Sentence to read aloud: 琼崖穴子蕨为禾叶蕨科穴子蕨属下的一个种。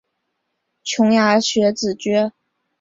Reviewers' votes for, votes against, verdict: 1, 2, rejected